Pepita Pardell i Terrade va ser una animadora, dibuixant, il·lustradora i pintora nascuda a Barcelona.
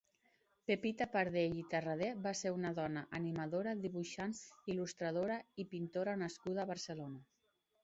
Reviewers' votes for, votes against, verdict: 1, 2, rejected